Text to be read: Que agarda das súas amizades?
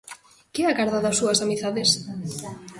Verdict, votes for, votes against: rejected, 0, 2